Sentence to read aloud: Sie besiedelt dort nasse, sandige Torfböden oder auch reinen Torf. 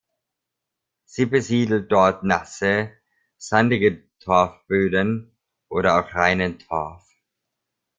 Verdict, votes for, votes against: rejected, 1, 2